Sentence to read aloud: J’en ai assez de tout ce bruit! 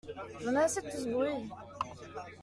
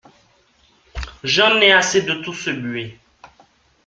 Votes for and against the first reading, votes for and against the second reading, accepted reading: 2, 0, 1, 2, first